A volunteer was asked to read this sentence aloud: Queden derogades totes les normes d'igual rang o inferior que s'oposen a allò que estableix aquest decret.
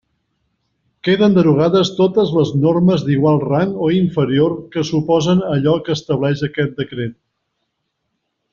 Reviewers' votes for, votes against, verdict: 2, 0, accepted